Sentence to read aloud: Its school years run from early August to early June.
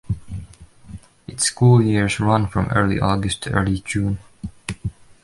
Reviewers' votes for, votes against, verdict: 2, 0, accepted